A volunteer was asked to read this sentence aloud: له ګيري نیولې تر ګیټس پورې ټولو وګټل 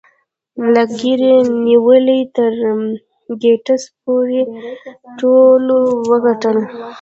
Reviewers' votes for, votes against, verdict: 2, 0, accepted